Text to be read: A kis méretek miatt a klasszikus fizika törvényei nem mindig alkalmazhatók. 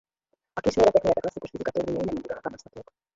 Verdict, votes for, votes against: rejected, 1, 2